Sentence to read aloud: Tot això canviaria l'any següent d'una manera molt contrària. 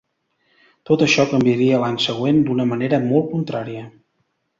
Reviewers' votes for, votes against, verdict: 2, 0, accepted